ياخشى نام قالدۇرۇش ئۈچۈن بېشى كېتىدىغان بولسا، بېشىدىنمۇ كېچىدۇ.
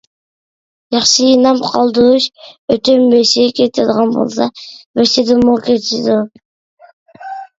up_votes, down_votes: 1, 2